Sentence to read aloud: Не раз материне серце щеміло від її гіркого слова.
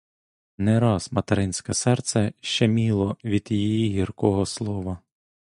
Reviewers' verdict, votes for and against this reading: rejected, 0, 2